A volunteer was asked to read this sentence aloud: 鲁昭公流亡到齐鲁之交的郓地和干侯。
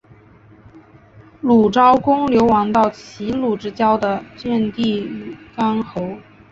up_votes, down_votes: 5, 1